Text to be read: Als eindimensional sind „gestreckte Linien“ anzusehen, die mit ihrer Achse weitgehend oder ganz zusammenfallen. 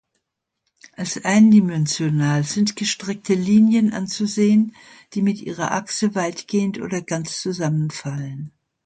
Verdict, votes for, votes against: accepted, 2, 0